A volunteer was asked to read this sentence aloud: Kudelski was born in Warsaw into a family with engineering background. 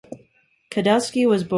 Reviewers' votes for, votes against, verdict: 0, 2, rejected